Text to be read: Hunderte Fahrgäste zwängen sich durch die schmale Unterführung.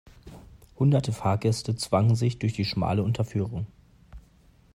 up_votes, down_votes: 1, 2